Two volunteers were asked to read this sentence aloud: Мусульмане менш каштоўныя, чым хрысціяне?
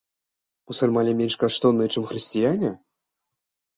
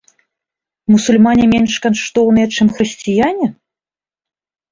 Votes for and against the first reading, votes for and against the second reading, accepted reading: 2, 0, 1, 2, first